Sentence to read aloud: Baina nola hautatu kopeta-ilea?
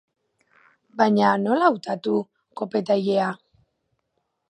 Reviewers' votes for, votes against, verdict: 6, 0, accepted